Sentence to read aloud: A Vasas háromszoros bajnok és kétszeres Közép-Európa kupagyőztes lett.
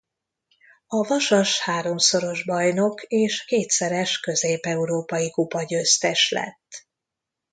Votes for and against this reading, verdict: 1, 2, rejected